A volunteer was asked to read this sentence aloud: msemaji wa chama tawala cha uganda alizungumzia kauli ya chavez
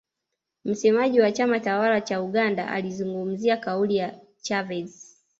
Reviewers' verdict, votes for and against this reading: rejected, 0, 2